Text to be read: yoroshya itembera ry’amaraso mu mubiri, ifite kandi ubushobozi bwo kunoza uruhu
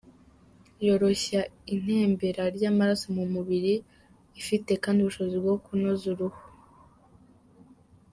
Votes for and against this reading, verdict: 2, 3, rejected